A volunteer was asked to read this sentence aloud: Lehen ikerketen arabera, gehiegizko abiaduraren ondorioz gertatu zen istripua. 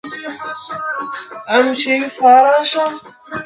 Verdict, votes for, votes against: rejected, 0, 2